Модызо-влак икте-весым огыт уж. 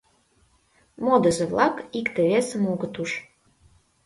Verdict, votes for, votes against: accepted, 2, 0